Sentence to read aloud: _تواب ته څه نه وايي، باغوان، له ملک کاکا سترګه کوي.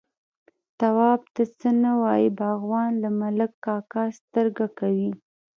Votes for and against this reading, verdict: 2, 3, rejected